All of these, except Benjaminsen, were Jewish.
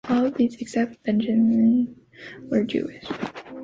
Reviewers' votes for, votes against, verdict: 1, 2, rejected